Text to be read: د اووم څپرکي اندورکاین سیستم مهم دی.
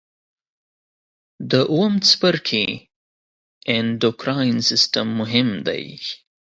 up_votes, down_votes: 1, 2